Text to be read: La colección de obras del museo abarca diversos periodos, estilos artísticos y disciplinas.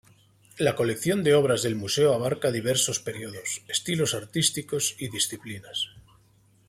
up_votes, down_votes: 2, 0